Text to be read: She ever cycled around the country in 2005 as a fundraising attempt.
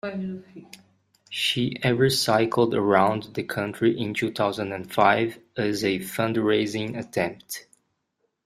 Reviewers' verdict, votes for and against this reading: rejected, 0, 2